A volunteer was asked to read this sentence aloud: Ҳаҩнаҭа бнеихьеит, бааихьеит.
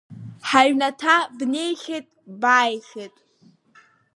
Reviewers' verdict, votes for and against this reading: accepted, 4, 0